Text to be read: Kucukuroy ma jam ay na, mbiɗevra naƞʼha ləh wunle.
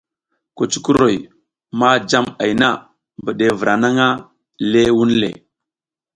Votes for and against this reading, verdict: 2, 0, accepted